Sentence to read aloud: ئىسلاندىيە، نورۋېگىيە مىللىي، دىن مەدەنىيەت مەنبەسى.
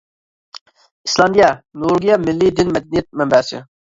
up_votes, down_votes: 1, 2